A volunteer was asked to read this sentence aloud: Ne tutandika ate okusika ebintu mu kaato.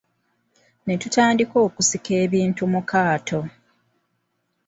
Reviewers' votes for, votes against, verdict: 2, 0, accepted